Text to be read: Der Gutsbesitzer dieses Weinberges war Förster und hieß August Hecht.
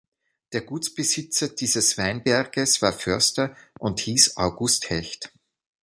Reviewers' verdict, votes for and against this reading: accepted, 2, 0